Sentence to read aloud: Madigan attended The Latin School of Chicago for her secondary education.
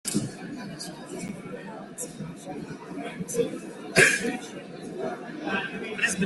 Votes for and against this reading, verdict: 0, 3, rejected